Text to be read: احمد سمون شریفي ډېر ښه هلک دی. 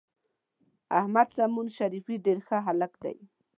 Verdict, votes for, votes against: accepted, 2, 0